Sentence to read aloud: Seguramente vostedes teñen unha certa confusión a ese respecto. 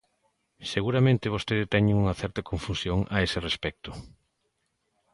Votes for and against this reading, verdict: 2, 0, accepted